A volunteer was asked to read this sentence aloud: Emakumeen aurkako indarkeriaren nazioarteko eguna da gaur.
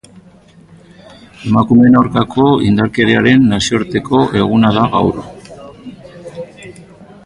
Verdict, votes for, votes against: accepted, 3, 0